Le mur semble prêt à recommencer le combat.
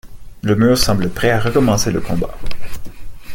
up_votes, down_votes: 2, 0